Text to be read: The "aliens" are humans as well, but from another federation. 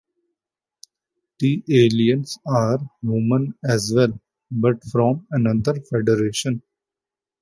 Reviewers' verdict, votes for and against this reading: rejected, 1, 2